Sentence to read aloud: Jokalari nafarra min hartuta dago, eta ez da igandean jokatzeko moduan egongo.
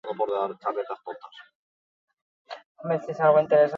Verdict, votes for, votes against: rejected, 0, 6